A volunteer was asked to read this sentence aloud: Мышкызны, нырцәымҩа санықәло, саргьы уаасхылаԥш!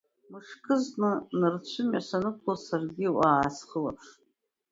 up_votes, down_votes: 1, 2